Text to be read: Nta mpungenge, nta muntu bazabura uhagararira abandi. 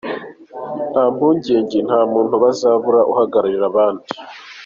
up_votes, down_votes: 2, 0